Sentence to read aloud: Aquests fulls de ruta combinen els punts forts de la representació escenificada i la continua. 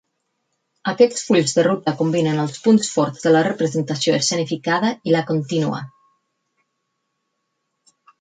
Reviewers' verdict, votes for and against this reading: rejected, 2, 4